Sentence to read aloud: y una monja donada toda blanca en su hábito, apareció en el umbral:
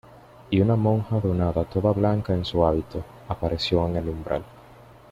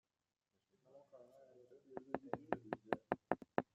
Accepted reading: first